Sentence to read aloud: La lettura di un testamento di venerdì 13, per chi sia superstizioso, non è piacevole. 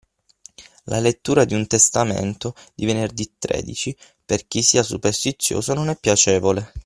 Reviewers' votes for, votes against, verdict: 0, 2, rejected